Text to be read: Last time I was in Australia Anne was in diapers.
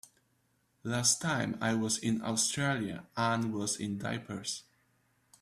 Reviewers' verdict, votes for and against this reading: accepted, 2, 0